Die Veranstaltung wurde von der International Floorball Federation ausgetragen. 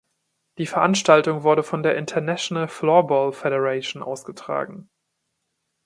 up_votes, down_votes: 2, 0